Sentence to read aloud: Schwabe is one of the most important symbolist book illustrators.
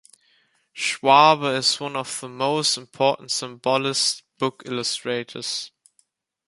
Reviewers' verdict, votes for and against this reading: accepted, 2, 1